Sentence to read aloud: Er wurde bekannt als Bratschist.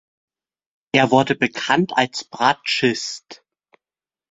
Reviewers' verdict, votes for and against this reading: accepted, 2, 0